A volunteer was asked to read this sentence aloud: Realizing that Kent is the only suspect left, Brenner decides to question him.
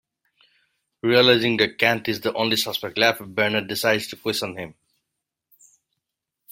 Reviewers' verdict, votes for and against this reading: accepted, 2, 1